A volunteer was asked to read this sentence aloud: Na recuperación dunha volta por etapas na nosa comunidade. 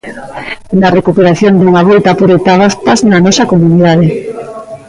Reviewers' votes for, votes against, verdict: 0, 2, rejected